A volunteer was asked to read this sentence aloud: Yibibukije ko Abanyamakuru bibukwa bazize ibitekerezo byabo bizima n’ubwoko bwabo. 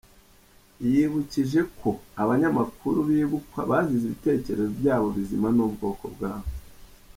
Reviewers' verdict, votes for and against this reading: rejected, 1, 2